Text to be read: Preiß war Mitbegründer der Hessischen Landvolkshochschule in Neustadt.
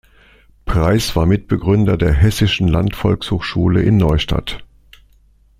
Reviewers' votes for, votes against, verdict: 2, 0, accepted